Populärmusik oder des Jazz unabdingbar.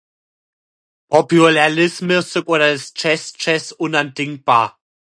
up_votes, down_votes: 0, 2